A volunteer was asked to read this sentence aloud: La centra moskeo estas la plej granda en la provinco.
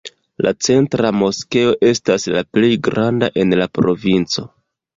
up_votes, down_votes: 2, 0